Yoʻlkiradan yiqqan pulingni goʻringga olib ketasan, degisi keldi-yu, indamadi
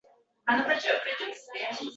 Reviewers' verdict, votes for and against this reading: rejected, 0, 2